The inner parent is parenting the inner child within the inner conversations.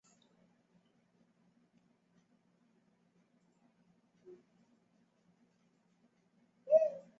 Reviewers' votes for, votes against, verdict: 0, 3, rejected